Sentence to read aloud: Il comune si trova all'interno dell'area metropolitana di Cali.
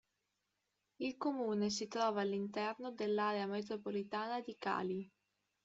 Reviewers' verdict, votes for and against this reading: accepted, 2, 0